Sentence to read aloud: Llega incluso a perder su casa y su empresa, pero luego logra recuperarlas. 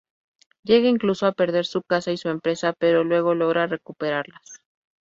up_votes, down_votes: 2, 0